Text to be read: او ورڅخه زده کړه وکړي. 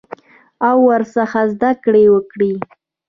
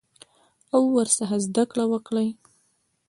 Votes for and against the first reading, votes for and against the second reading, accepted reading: 0, 2, 2, 0, second